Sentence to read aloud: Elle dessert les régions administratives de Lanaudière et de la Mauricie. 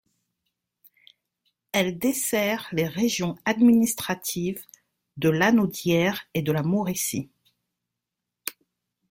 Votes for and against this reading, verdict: 2, 0, accepted